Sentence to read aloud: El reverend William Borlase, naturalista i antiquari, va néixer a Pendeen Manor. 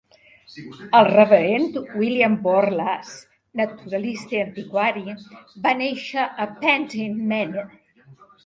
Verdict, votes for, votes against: rejected, 0, 2